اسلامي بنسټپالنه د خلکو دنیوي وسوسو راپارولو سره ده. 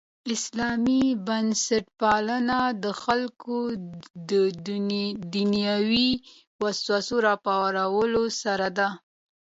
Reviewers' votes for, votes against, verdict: 2, 0, accepted